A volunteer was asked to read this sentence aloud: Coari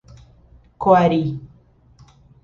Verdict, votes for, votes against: accepted, 2, 0